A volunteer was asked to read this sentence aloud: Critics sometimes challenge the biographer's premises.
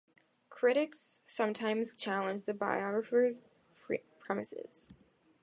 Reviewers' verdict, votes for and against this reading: rejected, 0, 2